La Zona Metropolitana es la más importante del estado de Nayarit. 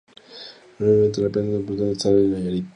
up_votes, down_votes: 0, 4